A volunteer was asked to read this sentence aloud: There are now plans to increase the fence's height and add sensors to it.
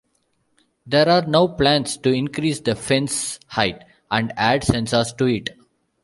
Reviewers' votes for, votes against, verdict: 2, 1, accepted